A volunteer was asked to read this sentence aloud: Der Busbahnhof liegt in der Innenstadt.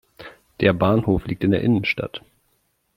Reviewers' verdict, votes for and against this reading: rejected, 0, 2